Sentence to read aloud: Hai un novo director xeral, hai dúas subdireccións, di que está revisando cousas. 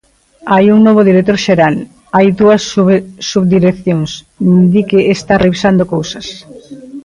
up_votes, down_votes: 1, 2